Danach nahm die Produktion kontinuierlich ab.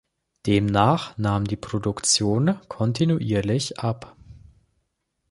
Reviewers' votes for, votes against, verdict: 0, 3, rejected